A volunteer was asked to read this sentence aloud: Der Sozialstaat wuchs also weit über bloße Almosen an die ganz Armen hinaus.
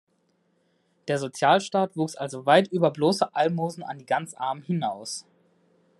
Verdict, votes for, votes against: accepted, 2, 0